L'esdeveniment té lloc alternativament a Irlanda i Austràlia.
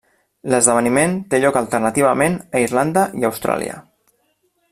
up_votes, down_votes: 3, 0